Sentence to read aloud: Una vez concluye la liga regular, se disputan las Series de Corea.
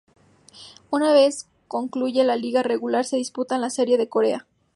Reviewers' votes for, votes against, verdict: 0, 2, rejected